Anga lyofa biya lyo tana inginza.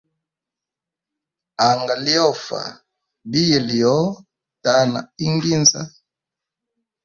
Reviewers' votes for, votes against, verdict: 2, 0, accepted